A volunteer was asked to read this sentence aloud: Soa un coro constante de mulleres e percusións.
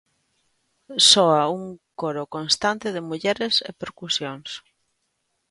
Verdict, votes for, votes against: accepted, 2, 0